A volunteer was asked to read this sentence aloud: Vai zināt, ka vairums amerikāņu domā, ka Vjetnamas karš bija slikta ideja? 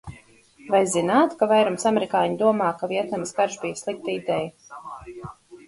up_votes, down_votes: 2, 2